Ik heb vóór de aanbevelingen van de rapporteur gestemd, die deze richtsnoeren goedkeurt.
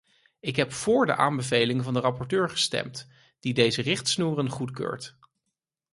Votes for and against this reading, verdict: 4, 0, accepted